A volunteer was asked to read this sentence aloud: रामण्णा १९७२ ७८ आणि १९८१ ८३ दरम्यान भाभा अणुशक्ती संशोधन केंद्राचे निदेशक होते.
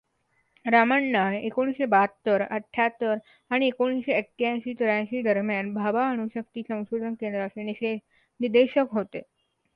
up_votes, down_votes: 0, 2